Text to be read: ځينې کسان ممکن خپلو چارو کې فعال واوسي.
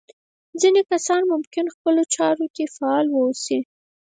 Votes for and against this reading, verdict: 2, 4, rejected